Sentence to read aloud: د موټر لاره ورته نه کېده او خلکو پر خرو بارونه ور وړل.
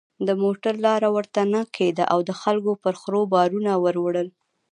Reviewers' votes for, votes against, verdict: 0, 2, rejected